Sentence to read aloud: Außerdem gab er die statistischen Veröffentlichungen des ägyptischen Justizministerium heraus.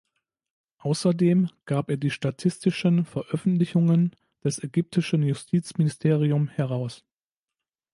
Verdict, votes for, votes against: accepted, 2, 0